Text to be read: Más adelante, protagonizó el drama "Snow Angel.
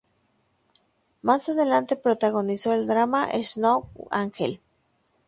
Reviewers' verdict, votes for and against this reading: accepted, 2, 0